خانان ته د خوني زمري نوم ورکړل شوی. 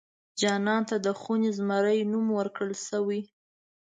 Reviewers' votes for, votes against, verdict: 1, 2, rejected